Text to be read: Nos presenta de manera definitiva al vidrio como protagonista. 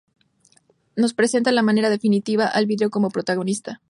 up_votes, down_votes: 2, 2